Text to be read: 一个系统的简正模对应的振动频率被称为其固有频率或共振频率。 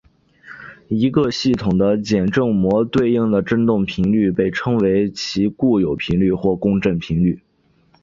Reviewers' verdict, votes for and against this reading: accepted, 2, 0